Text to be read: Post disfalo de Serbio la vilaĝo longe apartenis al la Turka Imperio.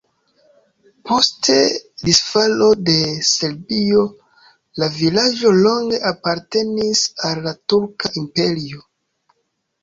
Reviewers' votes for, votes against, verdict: 2, 0, accepted